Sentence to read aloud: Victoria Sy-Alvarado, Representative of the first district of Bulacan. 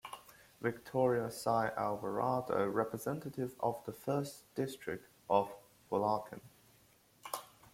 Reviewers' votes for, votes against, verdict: 0, 2, rejected